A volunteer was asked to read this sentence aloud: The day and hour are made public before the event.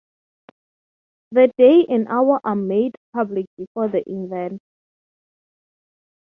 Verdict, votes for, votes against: accepted, 3, 0